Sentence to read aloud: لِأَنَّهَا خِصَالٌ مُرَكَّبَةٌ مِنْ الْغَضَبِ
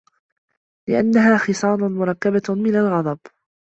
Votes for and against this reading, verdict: 2, 0, accepted